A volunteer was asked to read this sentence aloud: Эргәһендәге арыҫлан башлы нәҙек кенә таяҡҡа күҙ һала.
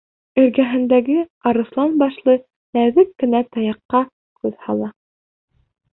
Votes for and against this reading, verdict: 1, 2, rejected